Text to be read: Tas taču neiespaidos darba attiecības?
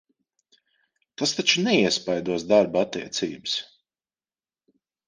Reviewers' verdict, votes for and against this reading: accepted, 2, 0